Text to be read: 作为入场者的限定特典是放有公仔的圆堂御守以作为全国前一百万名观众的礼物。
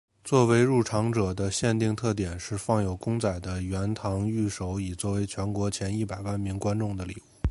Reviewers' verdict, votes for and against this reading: accepted, 4, 0